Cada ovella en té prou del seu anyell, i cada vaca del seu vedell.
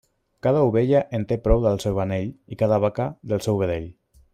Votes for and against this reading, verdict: 0, 2, rejected